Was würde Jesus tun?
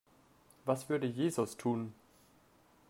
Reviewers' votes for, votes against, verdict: 3, 0, accepted